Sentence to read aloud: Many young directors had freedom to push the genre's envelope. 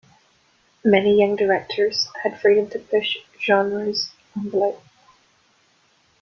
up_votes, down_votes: 1, 2